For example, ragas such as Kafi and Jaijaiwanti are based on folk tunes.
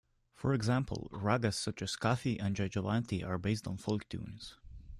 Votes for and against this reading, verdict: 2, 0, accepted